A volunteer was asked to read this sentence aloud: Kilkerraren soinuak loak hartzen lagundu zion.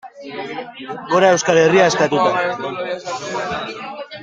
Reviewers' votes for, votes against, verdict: 0, 2, rejected